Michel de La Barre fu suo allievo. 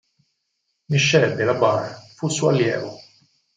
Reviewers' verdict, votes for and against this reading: accepted, 4, 0